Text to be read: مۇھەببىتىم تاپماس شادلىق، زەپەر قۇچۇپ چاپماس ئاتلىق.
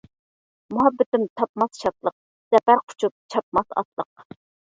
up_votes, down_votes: 2, 1